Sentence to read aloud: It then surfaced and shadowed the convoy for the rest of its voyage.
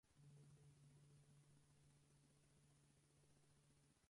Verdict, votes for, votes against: rejected, 0, 4